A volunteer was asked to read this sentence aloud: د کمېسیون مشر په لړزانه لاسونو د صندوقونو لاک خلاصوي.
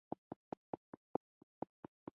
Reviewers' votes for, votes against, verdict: 0, 2, rejected